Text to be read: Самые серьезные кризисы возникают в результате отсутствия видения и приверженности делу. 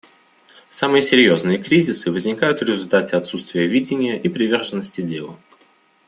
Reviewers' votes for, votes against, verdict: 2, 0, accepted